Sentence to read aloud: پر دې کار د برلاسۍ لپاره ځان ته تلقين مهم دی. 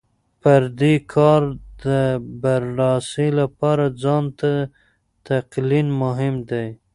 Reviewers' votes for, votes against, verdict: 0, 2, rejected